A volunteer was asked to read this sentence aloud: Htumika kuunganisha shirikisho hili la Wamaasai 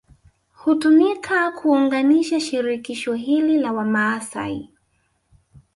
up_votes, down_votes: 1, 2